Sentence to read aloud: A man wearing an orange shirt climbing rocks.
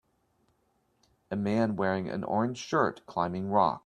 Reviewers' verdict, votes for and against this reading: rejected, 1, 2